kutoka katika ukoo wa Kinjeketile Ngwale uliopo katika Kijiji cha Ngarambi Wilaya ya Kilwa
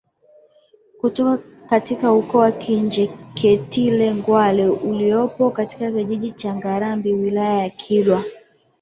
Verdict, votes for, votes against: rejected, 4, 5